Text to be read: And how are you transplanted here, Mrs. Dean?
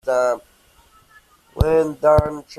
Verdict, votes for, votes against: rejected, 0, 2